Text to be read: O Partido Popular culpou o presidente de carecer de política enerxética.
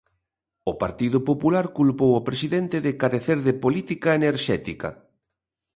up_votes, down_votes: 3, 0